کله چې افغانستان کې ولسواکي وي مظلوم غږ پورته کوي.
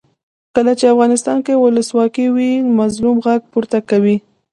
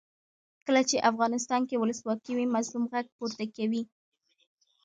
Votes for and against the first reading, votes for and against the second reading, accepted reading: 0, 2, 2, 0, second